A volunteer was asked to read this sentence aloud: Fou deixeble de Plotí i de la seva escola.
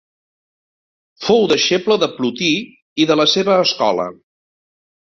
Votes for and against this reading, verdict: 2, 0, accepted